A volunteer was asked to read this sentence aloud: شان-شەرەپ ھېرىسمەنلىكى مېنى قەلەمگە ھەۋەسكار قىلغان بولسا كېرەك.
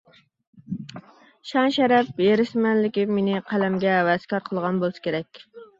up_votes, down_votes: 2, 0